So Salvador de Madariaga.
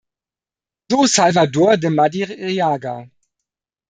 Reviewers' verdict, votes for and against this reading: rejected, 1, 2